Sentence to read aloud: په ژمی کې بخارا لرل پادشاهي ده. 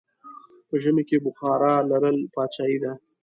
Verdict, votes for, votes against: accepted, 2, 0